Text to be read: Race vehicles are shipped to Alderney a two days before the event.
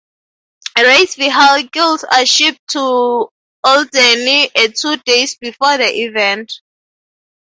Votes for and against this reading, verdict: 0, 2, rejected